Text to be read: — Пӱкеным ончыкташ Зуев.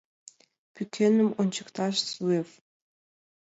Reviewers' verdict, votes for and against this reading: accepted, 2, 1